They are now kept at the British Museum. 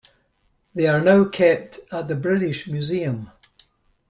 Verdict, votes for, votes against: accepted, 2, 0